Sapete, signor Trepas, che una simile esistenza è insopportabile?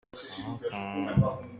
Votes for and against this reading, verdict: 0, 2, rejected